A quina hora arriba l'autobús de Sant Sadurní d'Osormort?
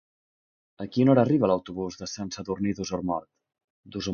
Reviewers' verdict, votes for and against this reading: rejected, 1, 2